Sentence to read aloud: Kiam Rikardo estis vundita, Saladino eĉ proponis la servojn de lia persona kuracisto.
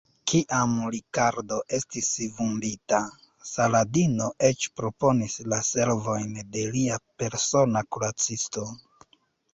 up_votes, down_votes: 3, 0